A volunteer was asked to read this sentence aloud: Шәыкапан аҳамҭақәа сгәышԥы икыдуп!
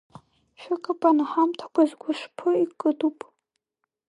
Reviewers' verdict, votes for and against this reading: rejected, 0, 2